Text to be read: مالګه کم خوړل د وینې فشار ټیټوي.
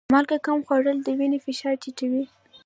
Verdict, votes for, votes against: accepted, 2, 0